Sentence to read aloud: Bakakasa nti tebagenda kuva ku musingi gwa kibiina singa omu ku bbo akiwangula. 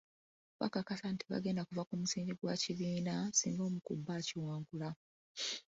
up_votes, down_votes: 2, 1